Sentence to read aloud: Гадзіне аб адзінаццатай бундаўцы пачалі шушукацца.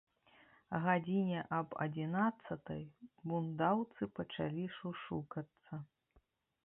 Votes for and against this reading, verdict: 0, 2, rejected